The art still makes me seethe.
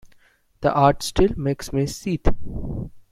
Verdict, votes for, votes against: accepted, 2, 0